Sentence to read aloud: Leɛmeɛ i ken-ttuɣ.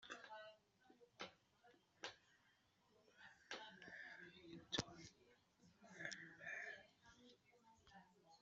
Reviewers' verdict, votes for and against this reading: rejected, 1, 2